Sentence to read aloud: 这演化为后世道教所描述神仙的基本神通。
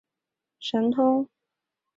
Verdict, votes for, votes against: rejected, 0, 4